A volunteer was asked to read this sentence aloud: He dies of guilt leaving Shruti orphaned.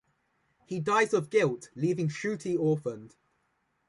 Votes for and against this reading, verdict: 2, 0, accepted